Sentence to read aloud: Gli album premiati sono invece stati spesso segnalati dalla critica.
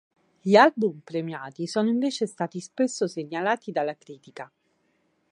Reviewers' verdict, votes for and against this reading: accepted, 4, 0